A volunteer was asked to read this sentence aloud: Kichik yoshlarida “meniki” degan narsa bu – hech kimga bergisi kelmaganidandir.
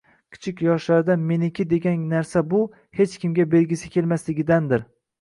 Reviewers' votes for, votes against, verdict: 2, 0, accepted